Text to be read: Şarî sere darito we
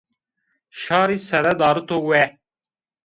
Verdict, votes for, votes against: accepted, 2, 0